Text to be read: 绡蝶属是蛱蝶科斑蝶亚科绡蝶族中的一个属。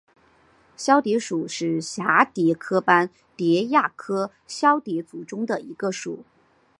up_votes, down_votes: 3, 0